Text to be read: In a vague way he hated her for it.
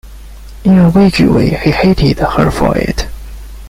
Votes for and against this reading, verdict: 2, 0, accepted